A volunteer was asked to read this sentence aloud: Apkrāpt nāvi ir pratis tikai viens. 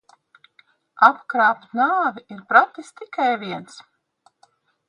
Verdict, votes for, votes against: accepted, 2, 0